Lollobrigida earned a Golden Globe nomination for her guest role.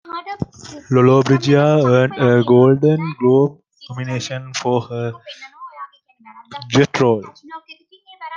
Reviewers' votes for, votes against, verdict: 0, 2, rejected